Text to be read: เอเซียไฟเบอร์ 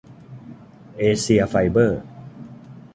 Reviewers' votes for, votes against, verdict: 2, 0, accepted